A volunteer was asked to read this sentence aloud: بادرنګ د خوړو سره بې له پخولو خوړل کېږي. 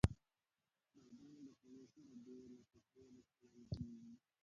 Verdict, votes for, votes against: rejected, 0, 2